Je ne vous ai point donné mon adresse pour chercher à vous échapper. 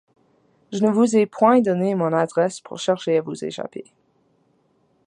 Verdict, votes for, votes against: accepted, 2, 0